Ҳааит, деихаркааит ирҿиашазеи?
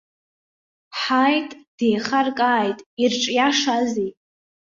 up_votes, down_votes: 2, 1